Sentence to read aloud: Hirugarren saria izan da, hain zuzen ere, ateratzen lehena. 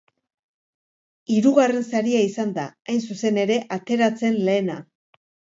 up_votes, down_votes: 2, 1